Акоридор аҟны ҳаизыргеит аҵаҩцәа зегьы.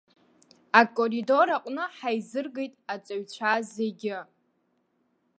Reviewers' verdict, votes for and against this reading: accepted, 2, 0